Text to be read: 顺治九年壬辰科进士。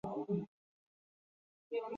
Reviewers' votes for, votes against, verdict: 4, 6, rejected